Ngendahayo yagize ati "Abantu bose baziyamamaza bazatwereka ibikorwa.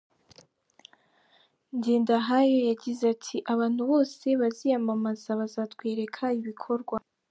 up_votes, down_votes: 3, 0